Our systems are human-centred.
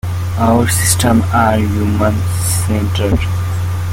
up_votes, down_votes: 0, 2